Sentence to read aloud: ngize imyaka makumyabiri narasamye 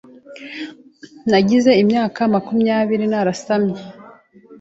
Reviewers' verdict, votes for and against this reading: rejected, 1, 2